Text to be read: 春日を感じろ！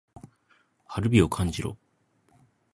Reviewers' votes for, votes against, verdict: 1, 2, rejected